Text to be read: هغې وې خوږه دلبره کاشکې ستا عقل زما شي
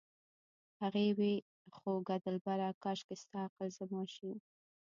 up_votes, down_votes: 0, 2